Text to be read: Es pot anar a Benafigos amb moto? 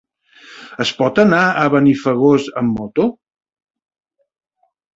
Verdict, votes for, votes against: rejected, 0, 2